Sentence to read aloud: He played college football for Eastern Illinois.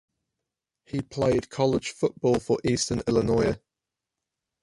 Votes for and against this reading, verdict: 4, 0, accepted